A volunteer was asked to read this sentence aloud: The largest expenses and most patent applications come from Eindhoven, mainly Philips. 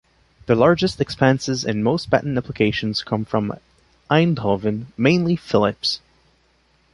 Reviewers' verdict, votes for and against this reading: accepted, 2, 0